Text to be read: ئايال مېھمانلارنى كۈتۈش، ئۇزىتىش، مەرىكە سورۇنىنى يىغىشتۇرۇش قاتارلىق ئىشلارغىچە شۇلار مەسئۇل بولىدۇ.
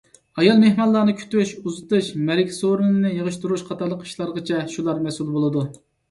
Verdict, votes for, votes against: accepted, 2, 0